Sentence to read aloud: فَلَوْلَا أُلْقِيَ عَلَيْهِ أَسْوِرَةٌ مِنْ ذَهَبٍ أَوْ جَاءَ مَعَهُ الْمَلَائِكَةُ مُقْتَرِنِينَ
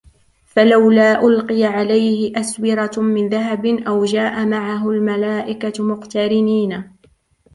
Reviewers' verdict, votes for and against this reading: accepted, 2, 0